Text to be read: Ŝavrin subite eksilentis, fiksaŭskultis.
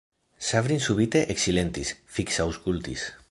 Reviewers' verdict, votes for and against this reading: rejected, 1, 2